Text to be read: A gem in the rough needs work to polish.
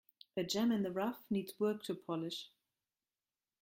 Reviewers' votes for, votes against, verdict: 2, 0, accepted